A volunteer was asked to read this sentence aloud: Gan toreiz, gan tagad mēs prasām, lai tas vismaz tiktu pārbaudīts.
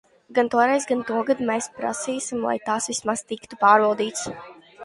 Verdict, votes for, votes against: rejected, 0, 2